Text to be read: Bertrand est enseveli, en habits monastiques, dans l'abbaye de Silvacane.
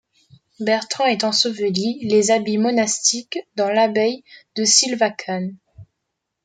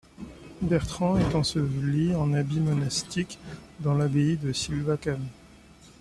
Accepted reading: second